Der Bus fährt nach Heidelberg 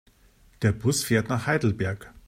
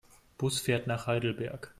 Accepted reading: first